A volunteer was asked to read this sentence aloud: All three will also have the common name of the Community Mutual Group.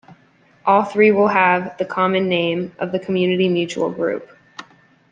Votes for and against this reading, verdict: 0, 2, rejected